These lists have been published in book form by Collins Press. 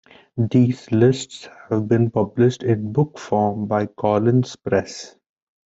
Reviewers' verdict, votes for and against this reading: rejected, 1, 2